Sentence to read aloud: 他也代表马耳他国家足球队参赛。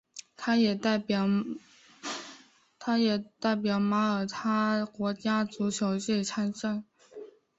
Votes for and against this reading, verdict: 0, 2, rejected